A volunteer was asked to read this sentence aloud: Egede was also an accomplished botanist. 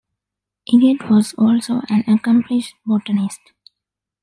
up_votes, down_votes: 2, 0